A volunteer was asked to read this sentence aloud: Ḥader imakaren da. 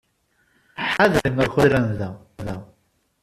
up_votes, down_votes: 0, 2